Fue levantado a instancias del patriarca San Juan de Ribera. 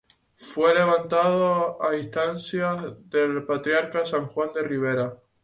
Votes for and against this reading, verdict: 2, 0, accepted